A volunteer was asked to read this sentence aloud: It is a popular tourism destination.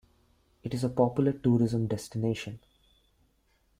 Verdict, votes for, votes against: accepted, 2, 0